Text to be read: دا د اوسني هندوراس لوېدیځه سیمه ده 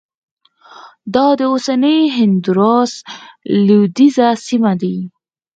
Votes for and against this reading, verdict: 4, 0, accepted